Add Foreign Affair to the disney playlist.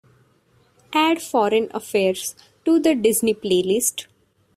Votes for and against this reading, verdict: 1, 2, rejected